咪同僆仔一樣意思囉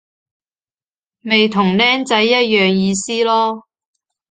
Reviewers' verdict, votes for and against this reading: accepted, 2, 0